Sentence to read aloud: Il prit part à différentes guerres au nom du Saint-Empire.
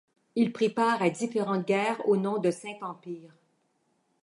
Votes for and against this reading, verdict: 1, 2, rejected